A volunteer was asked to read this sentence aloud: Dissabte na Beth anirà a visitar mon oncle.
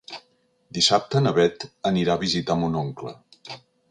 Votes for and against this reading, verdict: 3, 0, accepted